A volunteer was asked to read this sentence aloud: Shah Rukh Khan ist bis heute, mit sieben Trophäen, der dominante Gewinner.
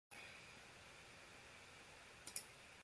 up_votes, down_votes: 0, 2